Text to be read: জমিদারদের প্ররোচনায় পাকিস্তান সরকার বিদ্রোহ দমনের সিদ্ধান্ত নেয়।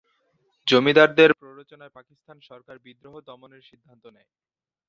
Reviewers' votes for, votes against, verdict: 2, 5, rejected